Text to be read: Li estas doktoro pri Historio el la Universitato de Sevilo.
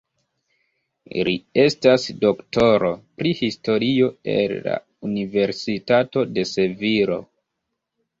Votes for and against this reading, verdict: 1, 3, rejected